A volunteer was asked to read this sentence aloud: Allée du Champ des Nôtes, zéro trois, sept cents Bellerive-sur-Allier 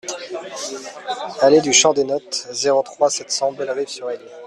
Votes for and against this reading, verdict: 1, 2, rejected